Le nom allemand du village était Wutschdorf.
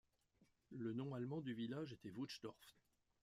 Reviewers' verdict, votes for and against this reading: rejected, 1, 2